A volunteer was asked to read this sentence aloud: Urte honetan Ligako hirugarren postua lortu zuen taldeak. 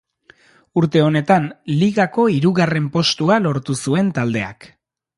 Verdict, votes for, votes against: accepted, 2, 0